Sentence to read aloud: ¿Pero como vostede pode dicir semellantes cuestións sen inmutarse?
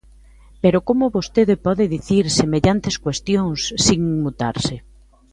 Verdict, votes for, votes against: accepted, 2, 1